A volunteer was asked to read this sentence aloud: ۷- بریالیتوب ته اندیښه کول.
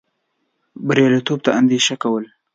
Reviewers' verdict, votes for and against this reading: rejected, 0, 2